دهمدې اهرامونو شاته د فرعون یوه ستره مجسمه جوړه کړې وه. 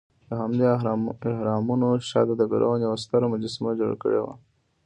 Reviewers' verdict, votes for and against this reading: rejected, 0, 2